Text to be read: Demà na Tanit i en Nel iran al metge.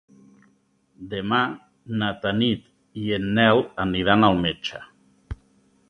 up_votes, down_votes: 0, 2